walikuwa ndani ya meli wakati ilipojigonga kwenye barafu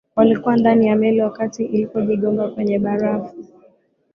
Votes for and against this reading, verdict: 10, 0, accepted